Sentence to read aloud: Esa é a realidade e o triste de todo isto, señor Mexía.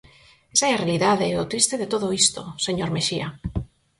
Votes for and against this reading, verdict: 4, 2, accepted